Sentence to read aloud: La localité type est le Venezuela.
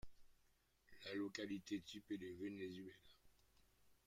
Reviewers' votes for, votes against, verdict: 1, 2, rejected